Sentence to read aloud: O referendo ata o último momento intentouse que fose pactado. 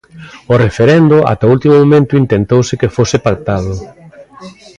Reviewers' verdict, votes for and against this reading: accepted, 2, 0